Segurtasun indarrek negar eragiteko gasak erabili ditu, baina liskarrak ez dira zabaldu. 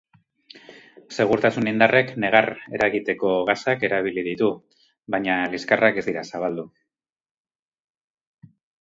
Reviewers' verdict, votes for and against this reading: accepted, 4, 0